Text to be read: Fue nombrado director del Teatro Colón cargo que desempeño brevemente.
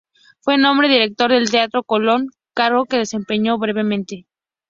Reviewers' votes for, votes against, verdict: 2, 0, accepted